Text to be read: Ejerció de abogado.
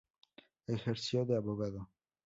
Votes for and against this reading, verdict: 4, 0, accepted